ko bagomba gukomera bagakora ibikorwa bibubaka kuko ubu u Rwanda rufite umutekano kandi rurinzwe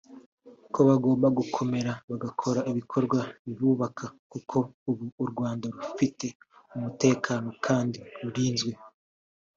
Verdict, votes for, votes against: accepted, 2, 0